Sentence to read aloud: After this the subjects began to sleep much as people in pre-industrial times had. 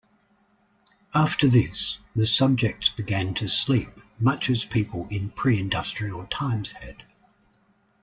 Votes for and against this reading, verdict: 2, 0, accepted